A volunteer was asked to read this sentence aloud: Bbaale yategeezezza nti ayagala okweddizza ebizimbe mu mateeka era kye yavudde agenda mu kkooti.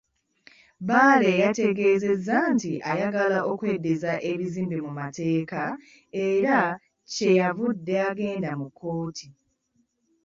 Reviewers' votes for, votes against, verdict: 2, 0, accepted